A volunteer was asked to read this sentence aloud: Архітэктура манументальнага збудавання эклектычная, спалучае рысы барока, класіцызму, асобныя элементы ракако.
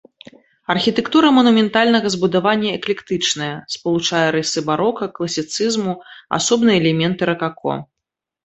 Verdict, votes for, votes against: accepted, 2, 0